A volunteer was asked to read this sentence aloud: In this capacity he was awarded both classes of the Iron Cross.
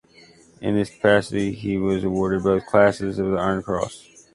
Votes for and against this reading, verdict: 0, 2, rejected